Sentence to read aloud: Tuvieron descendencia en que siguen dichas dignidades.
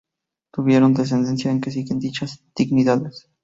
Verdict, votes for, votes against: rejected, 0, 2